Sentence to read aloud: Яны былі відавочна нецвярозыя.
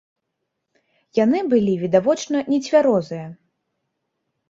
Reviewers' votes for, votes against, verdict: 3, 0, accepted